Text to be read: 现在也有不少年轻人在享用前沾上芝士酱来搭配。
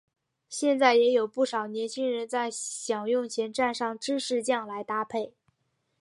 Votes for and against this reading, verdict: 4, 0, accepted